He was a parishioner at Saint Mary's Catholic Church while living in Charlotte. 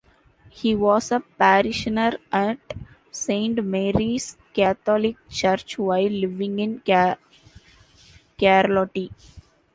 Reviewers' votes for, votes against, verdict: 0, 2, rejected